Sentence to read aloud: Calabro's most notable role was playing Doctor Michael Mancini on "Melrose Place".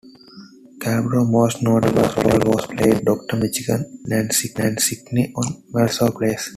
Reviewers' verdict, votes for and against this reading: accepted, 2, 1